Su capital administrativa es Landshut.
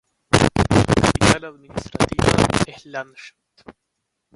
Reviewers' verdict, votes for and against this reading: rejected, 0, 2